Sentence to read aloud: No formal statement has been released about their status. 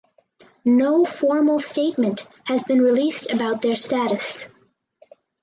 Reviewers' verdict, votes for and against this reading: accepted, 4, 0